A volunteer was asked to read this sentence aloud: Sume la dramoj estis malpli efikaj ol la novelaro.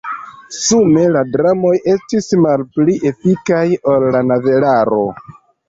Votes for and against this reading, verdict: 1, 2, rejected